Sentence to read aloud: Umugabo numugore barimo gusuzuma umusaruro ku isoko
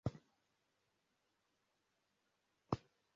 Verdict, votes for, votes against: rejected, 0, 2